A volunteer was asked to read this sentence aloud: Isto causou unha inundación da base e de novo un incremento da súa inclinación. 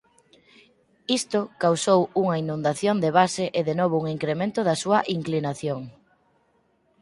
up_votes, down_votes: 0, 4